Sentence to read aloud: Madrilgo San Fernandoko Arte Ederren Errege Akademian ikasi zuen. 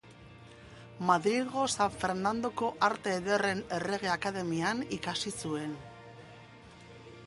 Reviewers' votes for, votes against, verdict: 3, 1, accepted